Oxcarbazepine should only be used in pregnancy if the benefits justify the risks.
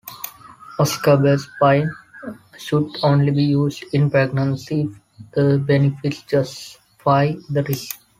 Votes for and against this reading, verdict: 1, 4, rejected